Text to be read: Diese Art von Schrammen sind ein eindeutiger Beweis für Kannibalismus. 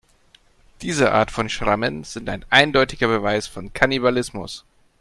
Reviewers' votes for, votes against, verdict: 0, 4, rejected